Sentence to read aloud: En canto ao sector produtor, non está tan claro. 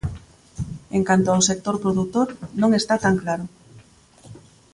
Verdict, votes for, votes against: accepted, 2, 0